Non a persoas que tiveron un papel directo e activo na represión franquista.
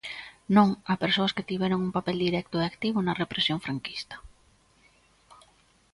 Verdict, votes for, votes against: accepted, 2, 0